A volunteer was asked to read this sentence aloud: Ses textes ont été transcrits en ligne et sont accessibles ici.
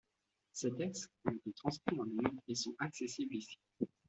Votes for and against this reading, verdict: 0, 2, rejected